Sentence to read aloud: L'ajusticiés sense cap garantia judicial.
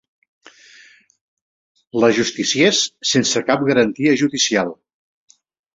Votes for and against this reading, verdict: 2, 0, accepted